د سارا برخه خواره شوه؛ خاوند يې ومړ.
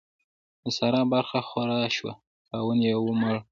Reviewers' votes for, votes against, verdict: 0, 2, rejected